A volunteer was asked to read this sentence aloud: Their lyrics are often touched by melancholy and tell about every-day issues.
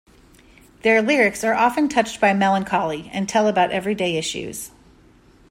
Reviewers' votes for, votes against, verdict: 2, 0, accepted